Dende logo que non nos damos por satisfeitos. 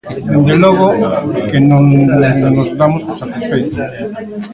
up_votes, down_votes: 0, 2